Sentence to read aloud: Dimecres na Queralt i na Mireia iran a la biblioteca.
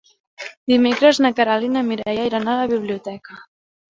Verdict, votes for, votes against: rejected, 1, 2